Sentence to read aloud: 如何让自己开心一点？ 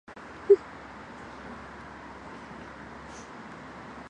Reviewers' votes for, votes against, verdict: 1, 2, rejected